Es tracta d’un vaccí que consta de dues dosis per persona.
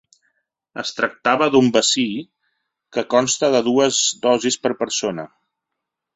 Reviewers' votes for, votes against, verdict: 1, 2, rejected